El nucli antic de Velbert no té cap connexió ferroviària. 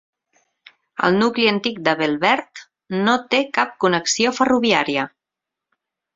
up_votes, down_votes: 4, 2